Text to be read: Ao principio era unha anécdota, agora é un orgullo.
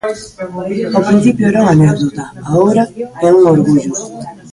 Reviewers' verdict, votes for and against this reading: rejected, 0, 2